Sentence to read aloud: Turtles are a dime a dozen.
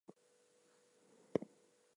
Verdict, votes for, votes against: rejected, 0, 2